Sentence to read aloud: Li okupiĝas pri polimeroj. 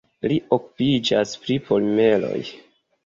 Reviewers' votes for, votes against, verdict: 2, 0, accepted